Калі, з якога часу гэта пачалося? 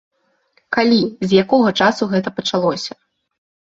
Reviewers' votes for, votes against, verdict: 2, 0, accepted